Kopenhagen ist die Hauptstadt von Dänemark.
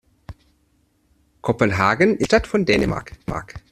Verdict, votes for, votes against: rejected, 1, 2